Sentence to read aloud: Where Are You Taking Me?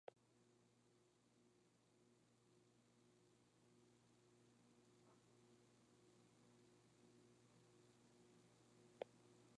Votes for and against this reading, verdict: 0, 2, rejected